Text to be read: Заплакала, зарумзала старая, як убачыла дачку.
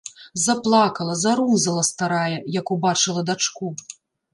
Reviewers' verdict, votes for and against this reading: rejected, 1, 2